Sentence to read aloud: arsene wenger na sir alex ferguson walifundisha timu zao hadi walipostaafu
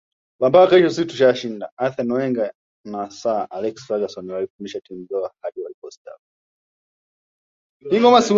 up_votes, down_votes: 1, 2